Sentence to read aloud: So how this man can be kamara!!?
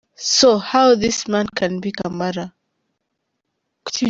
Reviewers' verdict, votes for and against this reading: rejected, 0, 2